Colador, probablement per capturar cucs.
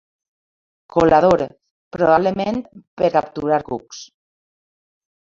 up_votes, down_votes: 3, 2